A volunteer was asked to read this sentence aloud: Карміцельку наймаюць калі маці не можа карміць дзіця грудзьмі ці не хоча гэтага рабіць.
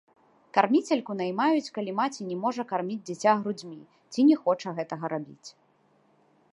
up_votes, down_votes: 2, 0